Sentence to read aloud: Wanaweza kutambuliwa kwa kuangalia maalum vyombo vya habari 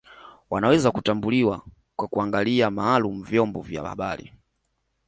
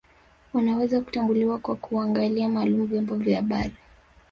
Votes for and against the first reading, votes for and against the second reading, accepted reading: 2, 1, 1, 2, first